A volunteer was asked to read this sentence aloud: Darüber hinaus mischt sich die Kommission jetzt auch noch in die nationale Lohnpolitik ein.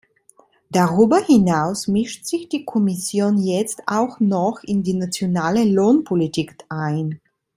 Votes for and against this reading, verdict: 3, 2, accepted